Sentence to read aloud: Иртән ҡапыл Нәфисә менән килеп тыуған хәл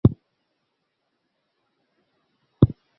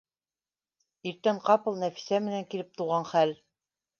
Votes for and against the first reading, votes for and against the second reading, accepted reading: 0, 2, 2, 0, second